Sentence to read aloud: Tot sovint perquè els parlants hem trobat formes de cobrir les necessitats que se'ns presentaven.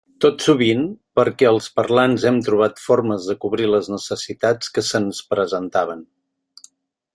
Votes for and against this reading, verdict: 3, 0, accepted